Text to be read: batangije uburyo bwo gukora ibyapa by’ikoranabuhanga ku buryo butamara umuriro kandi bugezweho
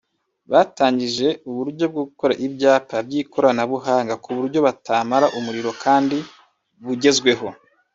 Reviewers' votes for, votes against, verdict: 1, 2, rejected